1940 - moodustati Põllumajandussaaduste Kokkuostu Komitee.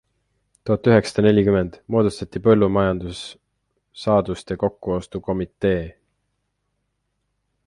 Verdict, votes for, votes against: rejected, 0, 2